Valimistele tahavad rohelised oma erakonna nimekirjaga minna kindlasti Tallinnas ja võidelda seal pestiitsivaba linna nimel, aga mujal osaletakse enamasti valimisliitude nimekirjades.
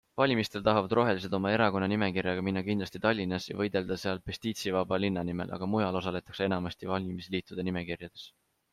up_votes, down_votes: 2, 0